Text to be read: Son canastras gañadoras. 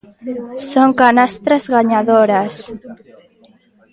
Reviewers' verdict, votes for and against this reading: accepted, 2, 0